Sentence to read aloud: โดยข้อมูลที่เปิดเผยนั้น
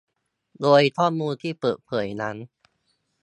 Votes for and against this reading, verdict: 2, 0, accepted